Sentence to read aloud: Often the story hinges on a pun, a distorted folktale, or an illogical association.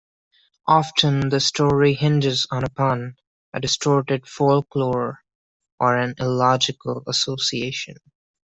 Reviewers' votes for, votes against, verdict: 0, 2, rejected